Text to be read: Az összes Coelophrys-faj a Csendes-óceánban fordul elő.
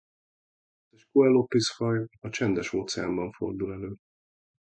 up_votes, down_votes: 0, 3